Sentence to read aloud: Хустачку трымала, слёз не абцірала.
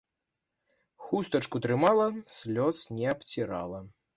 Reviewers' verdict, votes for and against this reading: accepted, 3, 0